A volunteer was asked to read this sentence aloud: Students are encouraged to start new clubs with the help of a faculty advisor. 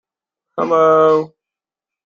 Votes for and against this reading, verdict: 0, 2, rejected